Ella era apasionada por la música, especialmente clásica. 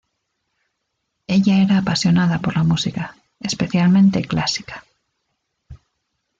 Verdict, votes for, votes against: accepted, 2, 0